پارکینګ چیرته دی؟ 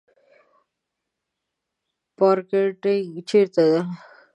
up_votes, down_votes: 0, 2